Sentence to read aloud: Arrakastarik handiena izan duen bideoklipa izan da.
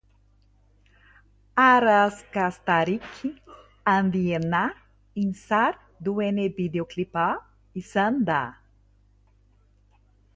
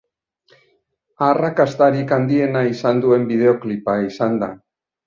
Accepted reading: second